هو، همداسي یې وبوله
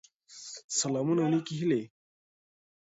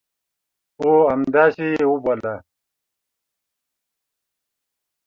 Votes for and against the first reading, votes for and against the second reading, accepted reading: 0, 2, 2, 0, second